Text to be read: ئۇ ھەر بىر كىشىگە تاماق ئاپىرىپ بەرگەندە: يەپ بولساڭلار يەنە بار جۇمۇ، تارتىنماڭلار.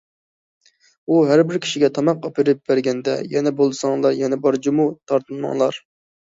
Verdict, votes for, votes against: rejected, 0, 2